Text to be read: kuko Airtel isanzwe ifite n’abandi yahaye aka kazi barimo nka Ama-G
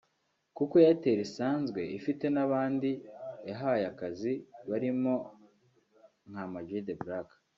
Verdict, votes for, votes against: rejected, 0, 2